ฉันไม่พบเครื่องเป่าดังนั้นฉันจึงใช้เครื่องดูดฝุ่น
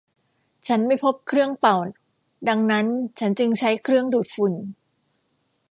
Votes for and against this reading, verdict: 2, 0, accepted